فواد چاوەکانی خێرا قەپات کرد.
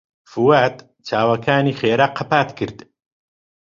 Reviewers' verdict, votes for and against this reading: accepted, 2, 0